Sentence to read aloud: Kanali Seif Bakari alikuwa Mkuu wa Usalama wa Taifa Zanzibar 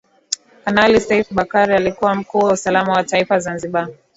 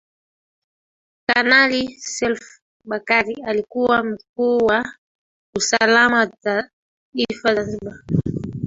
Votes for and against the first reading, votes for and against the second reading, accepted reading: 3, 0, 1, 2, first